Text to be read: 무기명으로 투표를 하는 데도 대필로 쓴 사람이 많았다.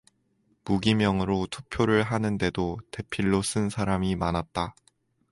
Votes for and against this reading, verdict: 2, 0, accepted